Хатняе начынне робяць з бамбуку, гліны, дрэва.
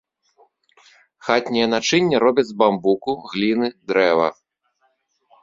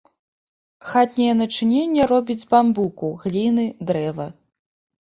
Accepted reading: first